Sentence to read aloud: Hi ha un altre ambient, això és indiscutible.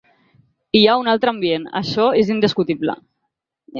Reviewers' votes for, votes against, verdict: 2, 0, accepted